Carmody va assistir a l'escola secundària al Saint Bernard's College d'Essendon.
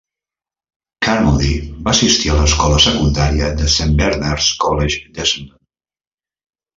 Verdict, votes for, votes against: rejected, 1, 2